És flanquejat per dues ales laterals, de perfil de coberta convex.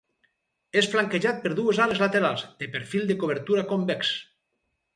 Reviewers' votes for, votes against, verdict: 0, 4, rejected